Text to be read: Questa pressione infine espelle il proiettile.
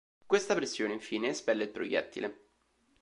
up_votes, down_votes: 2, 0